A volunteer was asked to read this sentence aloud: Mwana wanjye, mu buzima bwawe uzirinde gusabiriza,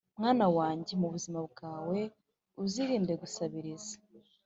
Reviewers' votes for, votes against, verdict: 2, 0, accepted